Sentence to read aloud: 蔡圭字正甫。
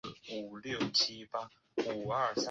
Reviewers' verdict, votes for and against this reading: rejected, 0, 2